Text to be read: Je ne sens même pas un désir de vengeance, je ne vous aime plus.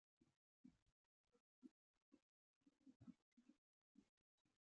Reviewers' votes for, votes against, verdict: 0, 2, rejected